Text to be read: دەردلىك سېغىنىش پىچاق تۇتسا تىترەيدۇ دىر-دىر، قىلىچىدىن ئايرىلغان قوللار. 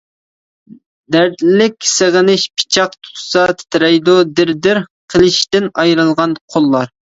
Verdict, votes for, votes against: rejected, 1, 2